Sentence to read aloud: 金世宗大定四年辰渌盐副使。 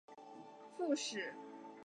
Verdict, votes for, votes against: rejected, 0, 4